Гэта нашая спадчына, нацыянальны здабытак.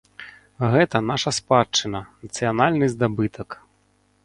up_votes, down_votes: 1, 2